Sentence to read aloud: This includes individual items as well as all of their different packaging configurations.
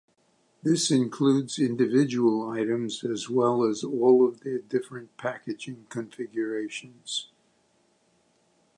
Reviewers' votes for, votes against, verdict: 2, 0, accepted